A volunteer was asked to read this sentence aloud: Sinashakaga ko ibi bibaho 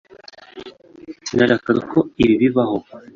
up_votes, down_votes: 2, 1